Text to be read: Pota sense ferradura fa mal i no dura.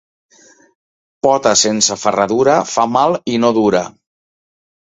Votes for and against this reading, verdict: 2, 0, accepted